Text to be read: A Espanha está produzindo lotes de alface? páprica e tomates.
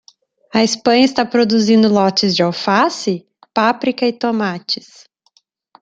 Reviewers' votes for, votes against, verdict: 3, 0, accepted